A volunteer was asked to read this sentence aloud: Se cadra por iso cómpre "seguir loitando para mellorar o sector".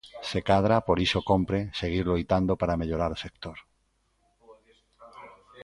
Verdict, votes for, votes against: rejected, 1, 2